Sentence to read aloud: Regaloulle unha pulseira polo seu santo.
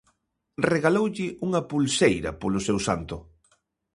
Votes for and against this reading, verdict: 2, 0, accepted